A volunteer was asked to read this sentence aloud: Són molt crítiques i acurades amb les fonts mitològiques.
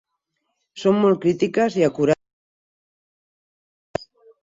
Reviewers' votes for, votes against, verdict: 0, 4, rejected